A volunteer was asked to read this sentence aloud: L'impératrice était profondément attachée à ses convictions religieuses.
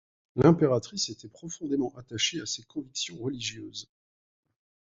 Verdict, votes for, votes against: accepted, 2, 0